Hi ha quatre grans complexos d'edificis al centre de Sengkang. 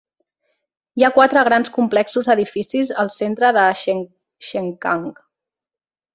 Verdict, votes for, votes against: rejected, 0, 2